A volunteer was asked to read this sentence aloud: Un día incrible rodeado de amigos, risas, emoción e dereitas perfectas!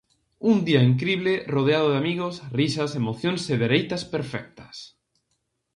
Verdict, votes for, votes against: rejected, 0, 2